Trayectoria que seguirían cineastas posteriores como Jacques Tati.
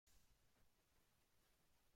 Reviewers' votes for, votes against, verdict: 0, 2, rejected